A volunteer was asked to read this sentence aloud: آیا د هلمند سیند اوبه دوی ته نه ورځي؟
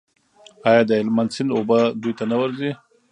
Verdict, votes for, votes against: accepted, 2, 0